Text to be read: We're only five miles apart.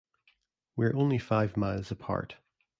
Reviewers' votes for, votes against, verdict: 2, 0, accepted